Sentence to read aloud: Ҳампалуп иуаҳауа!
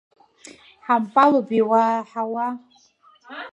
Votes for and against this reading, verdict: 0, 3, rejected